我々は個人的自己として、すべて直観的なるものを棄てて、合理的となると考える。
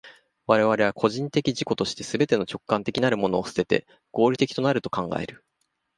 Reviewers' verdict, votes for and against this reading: rejected, 1, 2